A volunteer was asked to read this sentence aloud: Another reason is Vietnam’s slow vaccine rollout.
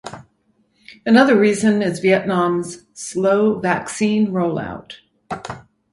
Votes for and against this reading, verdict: 4, 0, accepted